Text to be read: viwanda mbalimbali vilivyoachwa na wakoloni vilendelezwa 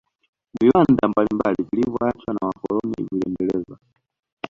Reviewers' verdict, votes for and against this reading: rejected, 0, 2